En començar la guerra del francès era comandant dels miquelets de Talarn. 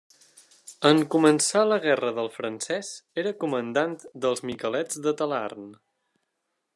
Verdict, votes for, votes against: accepted, 2, 0